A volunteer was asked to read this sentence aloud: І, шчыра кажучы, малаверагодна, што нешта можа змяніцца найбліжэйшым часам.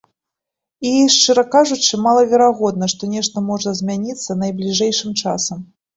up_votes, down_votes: 2, 0